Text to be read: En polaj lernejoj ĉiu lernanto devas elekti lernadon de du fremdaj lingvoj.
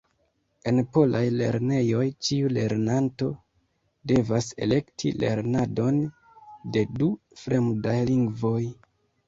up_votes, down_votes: 1, 2